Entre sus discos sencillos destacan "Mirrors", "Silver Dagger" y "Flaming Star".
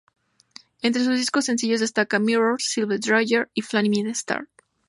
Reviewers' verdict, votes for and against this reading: rejected, 0, 2